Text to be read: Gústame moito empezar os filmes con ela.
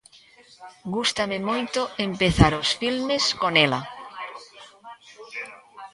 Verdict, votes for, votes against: rejected, 1, 2